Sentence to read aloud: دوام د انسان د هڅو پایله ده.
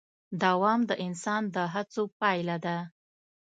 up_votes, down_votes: 2, 0